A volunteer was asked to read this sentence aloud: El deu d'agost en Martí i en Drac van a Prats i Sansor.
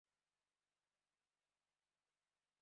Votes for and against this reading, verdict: 0, 2, rejected